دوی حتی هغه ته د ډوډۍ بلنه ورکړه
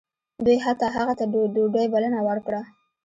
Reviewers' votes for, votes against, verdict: 2, 0, accepted